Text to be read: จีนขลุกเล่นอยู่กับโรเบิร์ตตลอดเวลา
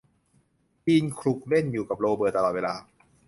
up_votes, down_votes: 2, 0